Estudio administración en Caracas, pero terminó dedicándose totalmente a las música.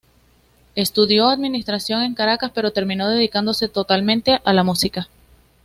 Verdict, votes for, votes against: accepted, 2, 0